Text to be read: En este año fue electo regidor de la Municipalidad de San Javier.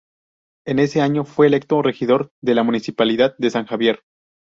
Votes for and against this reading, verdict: 0, 2, rejected